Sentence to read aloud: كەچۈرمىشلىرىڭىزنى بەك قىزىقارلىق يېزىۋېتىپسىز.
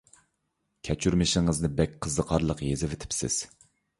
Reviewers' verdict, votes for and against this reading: rejected, 0, 2